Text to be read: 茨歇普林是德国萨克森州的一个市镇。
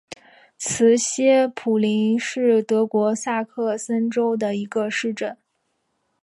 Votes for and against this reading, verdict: 2, 0, accepted